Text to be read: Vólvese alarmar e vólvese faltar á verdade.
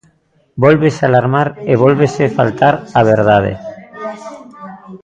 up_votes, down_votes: 2, 0